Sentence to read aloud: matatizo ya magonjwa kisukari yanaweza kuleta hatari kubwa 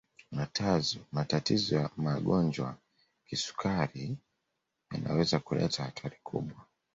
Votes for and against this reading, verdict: 0, 2, rejected